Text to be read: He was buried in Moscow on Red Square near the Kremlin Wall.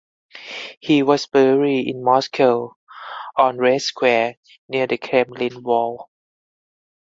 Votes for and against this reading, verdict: 4, 2, accepted